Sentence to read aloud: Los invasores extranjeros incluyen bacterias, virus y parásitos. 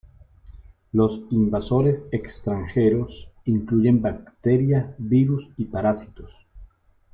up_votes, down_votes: 2, 3